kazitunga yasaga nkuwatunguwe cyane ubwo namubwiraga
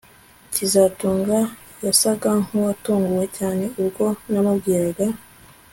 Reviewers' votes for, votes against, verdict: 2, 0, accepted